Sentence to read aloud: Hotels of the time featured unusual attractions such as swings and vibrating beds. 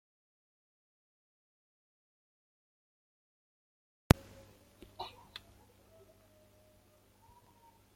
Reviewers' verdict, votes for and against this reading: rejected, 0, 2